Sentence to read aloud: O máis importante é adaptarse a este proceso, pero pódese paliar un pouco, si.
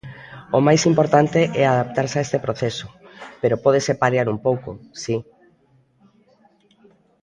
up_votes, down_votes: 0, 2